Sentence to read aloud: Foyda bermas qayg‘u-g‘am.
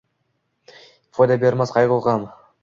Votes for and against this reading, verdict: 2, 0, accepted